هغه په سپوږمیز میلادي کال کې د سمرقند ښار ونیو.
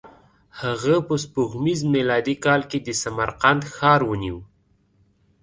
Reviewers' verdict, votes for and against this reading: accepted, 2, 0